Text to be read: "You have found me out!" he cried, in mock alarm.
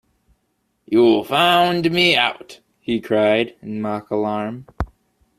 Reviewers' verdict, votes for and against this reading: rejected, 1, 2